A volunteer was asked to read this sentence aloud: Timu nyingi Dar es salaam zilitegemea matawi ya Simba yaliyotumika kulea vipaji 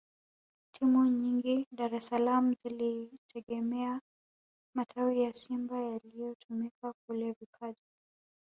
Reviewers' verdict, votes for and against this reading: rejected, 1, 2